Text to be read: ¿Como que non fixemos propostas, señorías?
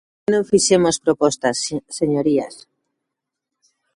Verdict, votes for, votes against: rejected, 0, 2